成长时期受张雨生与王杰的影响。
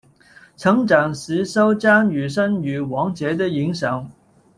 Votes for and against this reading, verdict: 0, 2, rejected